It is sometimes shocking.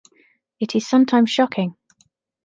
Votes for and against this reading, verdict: 2, 0, accepted